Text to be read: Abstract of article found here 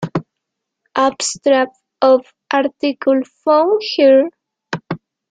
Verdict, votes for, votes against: rejected, 0, 2